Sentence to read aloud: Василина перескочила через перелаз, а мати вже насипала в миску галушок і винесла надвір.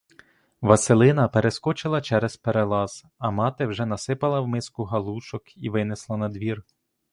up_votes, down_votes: 2, 0